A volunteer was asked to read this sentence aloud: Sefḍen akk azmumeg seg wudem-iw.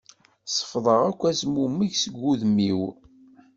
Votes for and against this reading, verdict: 0, 2, rejected